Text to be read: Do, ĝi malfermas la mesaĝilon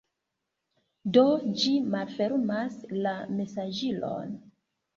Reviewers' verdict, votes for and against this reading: accepted, 2, 0